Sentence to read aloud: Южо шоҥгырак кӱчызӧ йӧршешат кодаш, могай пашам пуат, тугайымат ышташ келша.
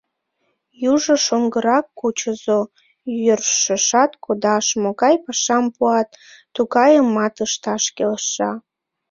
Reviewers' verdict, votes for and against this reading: rejected, 1, 2